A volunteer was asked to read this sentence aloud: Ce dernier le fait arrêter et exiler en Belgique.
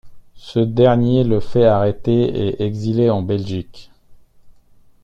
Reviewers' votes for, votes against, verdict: 2, 0, accepted